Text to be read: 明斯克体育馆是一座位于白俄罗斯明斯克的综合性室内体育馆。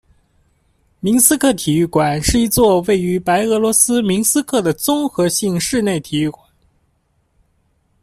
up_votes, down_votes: 0, 2